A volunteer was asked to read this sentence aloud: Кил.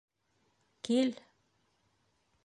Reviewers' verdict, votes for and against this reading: accepted, 2, 0